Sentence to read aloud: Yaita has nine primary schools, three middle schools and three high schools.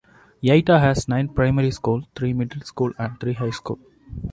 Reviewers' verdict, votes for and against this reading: accepted, 2, 1